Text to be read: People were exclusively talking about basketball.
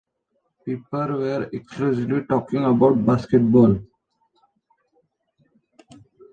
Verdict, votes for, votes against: rejected, 0, 2